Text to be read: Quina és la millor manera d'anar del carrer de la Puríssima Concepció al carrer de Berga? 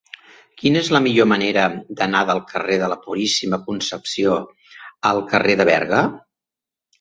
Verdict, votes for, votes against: accepted, 2, 0